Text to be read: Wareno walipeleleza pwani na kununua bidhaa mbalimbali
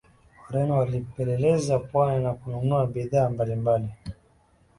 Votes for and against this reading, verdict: 2, 0, accepted